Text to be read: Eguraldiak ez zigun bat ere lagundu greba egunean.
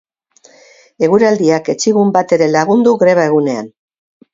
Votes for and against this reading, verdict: 2, 2, rejected